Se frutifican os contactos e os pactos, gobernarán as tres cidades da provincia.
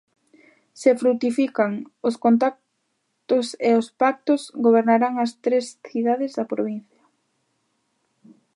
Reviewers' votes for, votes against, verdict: 0, 2, rejected